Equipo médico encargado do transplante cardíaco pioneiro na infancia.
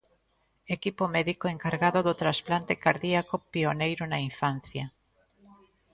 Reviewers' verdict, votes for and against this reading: rejected, 1, 2